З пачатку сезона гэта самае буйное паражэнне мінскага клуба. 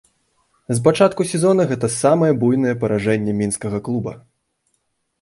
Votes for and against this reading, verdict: 0, 2, rejected